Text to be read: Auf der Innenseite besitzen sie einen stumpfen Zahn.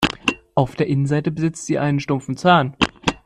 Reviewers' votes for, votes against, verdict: 1, 2, rejected